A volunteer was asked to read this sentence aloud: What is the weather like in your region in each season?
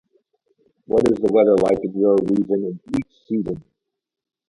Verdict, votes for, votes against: accepted, 2, 0